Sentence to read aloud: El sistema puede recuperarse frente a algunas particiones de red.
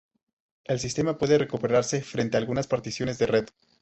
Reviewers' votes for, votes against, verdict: 2, 2, rejected